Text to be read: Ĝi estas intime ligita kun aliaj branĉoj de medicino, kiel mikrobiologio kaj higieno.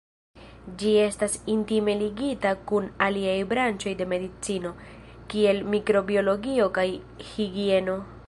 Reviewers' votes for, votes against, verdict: 2, 0, accepted